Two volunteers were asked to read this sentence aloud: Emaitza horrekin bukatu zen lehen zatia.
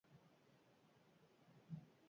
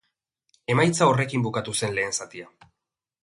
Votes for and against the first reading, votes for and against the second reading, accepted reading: 0, 4, 3, 0, second